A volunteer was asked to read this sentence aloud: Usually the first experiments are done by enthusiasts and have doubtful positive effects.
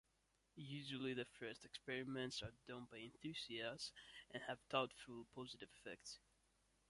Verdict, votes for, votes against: accepted, 2, 0